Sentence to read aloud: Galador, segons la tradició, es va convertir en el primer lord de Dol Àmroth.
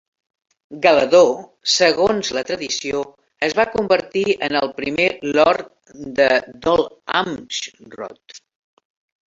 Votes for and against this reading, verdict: 0, 3, rejected